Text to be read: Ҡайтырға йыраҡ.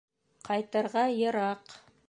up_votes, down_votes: 2, 0